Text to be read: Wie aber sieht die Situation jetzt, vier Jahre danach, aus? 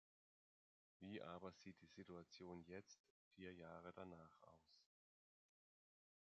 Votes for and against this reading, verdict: 1, 2, rejected